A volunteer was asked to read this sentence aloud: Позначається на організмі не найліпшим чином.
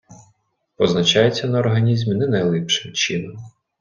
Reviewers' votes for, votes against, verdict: 1, 2, rejected